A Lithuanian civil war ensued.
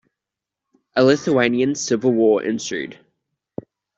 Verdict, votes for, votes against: accepted, 2, 0